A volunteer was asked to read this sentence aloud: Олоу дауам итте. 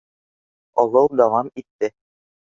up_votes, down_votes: 2, 0